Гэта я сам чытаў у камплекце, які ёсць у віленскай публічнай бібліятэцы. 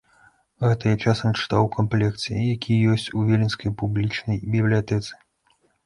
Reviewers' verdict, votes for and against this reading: rejected, 0, 2